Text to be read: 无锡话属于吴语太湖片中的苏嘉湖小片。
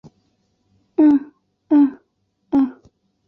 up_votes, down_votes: 1, 3